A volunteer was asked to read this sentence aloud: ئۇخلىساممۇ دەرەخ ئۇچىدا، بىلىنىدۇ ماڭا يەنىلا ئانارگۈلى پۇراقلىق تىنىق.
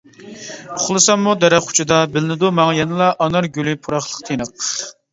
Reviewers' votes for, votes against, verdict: 2, 0, accepted